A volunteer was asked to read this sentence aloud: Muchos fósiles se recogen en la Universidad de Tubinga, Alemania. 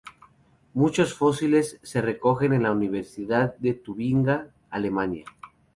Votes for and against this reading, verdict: 2, 0, accepted